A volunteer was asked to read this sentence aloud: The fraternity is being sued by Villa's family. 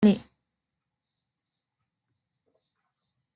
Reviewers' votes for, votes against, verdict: 0, 2, rejected